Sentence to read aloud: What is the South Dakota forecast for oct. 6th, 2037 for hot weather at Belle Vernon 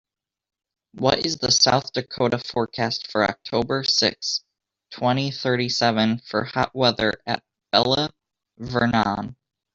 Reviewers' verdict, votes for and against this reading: rejected, 0, 2